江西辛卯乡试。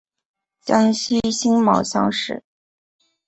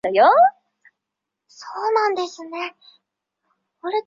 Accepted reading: first